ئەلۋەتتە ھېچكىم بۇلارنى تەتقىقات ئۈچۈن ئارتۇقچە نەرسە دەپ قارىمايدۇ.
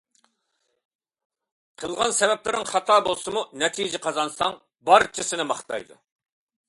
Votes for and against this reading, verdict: 0, 3, rejected